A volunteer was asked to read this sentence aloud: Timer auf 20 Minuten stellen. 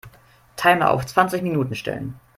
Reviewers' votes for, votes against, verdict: 0, 2, rejected